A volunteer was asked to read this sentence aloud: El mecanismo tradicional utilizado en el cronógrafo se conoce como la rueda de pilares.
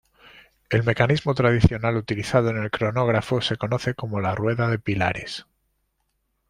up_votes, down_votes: 2, 0